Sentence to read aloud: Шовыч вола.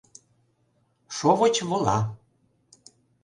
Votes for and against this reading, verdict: 2, 0, accepted